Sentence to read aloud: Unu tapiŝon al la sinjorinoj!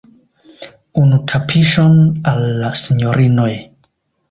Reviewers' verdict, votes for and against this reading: accepted, 2, 0